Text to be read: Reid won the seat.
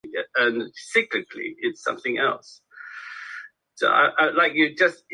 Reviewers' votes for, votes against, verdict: 0, 2, rejected